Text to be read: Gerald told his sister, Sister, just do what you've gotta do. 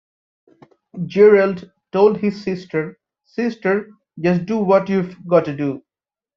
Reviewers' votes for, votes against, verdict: 2, 0, accepted